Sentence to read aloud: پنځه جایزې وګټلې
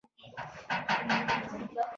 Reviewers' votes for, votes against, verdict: 0, 2, rejected